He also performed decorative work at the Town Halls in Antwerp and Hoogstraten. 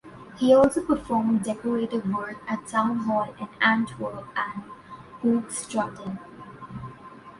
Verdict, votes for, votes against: rejected, 0, 2